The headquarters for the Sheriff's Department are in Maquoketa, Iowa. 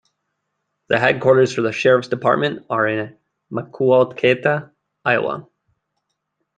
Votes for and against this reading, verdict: 1, 2, rejected